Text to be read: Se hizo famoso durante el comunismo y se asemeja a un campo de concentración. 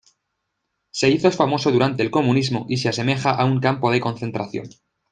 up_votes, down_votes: 0, 2